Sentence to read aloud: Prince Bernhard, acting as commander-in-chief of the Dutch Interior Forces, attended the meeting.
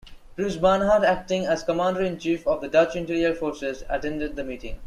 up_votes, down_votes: 2, 0